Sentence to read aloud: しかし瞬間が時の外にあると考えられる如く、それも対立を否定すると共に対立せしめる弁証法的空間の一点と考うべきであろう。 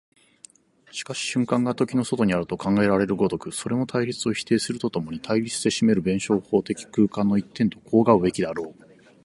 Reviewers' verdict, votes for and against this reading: accepted, 4, 0